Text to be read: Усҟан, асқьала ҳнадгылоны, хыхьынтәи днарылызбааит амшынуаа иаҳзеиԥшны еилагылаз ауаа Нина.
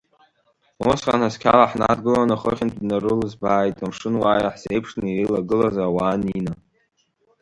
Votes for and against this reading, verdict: 1, 2, rejected